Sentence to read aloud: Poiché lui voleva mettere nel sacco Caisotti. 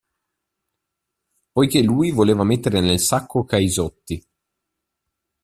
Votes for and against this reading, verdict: 2, 0, accepted